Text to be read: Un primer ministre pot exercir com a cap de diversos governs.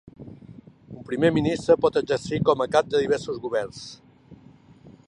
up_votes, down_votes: 3, 0